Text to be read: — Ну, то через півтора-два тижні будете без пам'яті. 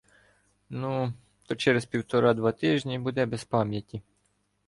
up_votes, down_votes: 1, 2